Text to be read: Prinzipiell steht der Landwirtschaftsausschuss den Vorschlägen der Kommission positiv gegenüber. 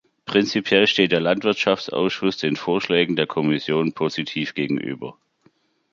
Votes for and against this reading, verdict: 2, 0, accepted